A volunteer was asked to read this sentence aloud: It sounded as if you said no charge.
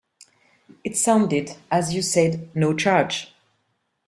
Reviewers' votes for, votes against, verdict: 0, 2, rejected